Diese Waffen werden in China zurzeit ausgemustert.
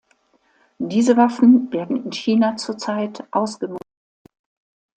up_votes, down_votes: 0, 2